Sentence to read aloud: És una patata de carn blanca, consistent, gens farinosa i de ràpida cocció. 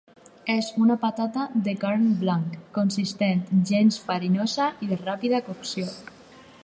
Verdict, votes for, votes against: rejected, 2, 2